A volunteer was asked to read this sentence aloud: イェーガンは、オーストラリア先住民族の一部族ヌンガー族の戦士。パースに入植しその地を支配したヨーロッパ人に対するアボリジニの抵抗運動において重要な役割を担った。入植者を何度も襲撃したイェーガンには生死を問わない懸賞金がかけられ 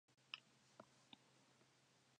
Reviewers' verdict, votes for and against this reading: rejected, 0, 2